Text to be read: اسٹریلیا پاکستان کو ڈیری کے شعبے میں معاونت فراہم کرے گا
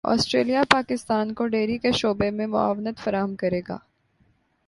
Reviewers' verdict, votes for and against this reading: accepted, 3, 0